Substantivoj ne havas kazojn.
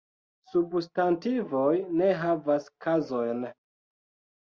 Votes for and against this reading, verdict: 2, 0, accepted